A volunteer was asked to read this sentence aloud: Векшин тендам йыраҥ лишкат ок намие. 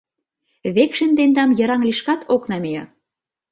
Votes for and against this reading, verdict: 2, 0, accepted